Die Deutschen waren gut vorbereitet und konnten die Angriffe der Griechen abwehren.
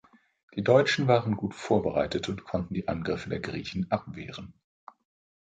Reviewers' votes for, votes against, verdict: 2, 0, accepted